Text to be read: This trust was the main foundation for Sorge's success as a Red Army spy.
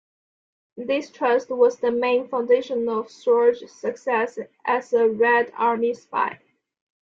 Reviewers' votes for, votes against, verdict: 2, 0, accepted